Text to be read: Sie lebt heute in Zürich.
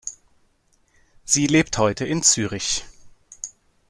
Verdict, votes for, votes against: accepted, 2, 0